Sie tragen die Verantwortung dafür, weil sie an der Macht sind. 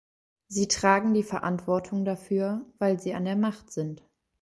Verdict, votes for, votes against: accepted, 2, 0